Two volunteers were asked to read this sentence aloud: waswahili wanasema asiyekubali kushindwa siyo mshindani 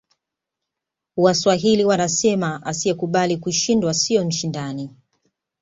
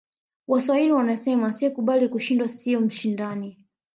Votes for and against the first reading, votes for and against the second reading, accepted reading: 2, 0, 1, 2, first